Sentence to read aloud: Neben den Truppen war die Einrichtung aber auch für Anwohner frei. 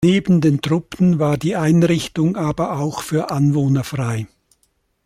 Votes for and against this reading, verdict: 2, 0, accepted